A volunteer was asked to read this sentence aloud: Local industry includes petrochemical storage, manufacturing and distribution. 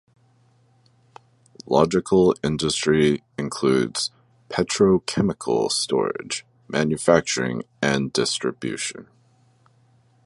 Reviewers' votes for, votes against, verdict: 0, 2, rejected